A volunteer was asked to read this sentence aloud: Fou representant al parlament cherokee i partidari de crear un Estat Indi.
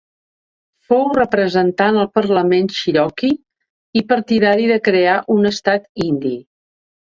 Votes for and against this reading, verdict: 2, 0, accepted